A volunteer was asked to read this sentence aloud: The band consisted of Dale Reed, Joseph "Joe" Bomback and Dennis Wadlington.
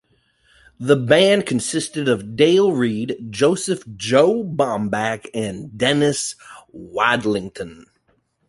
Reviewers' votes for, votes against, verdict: 2, 0, accepted